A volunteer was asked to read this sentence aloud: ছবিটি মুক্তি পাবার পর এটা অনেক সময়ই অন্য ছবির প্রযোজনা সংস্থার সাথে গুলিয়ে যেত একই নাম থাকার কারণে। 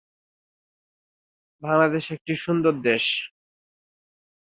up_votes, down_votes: 0, 2